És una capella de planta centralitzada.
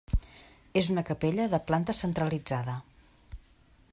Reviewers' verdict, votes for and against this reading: accepted, 3, 0